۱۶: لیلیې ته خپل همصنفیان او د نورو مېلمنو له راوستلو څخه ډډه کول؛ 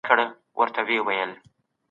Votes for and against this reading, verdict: 0, 2, rejected